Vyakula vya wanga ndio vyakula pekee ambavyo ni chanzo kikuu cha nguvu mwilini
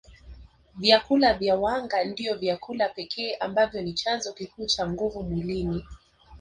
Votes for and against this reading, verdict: 2, 1, accepted